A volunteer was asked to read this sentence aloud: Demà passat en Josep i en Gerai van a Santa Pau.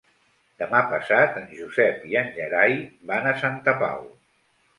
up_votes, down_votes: 3, 0